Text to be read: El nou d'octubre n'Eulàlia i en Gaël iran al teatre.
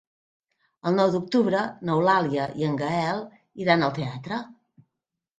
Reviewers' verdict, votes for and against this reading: accepted, 3, 0